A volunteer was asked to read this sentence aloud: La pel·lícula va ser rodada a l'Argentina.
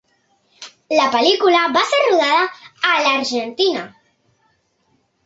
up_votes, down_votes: 2, 0